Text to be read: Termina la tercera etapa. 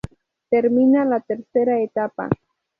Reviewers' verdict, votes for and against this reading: rejected, 0, 2